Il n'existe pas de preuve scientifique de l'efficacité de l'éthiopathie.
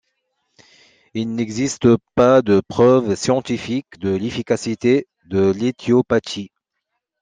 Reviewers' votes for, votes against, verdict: 2, 0, accepted